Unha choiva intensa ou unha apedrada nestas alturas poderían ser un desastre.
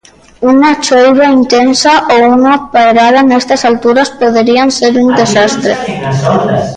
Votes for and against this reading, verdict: 0, 2, rejected